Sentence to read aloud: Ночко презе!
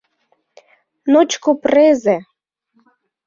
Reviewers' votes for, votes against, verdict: 2, 0, accepted